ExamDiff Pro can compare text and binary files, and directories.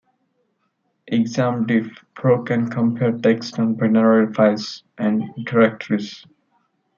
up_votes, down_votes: 2, 0